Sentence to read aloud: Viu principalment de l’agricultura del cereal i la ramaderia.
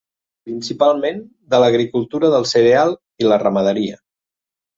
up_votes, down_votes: 0, 2